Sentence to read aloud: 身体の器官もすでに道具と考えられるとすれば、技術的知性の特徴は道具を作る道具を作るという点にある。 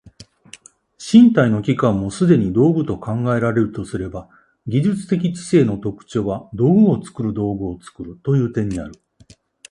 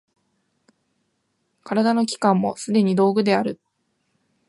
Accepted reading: first